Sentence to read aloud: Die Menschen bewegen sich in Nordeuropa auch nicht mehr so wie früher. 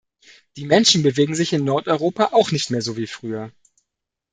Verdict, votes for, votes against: accepted, 2, 0